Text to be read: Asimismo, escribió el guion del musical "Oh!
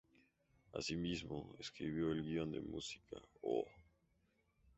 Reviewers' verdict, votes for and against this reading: accepted, 2, 0